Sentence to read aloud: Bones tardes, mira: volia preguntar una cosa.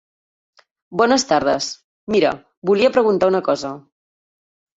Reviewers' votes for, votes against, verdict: 3, 0, accepted